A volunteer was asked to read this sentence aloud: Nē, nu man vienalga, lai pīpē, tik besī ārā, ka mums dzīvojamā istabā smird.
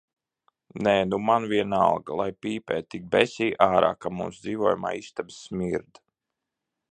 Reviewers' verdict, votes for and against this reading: rejected, 0, 2